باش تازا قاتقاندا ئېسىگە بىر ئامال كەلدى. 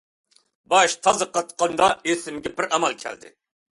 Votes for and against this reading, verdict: 2, 0, accepted